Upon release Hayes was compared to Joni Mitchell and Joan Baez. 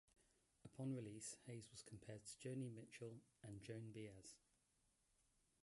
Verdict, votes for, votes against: rejected, 0, 2